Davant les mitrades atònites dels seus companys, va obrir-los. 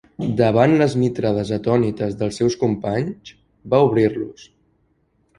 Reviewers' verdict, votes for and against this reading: accepted, 3, 0